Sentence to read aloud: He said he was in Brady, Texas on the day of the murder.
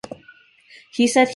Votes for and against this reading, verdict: 0, 2, rejected